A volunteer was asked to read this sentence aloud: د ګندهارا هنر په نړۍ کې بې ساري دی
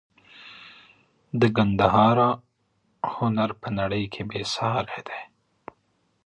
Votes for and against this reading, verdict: 1, 2, rejected